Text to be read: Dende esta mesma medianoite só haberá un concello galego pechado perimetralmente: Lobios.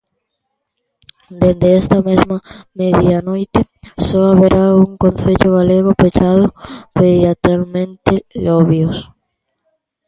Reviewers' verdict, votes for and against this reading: rejected, 0, 2